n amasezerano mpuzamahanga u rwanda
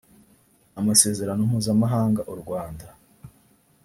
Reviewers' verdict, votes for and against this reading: rejected, 1, 2